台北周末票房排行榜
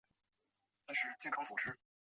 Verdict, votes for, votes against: rejected, 1, 2